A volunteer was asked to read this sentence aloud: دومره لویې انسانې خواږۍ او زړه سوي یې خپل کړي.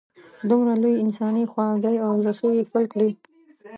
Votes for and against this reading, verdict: 0, 2, rejected